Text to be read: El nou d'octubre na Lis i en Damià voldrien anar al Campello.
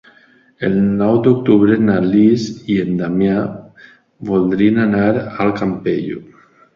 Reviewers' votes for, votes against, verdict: 2, 0, accepted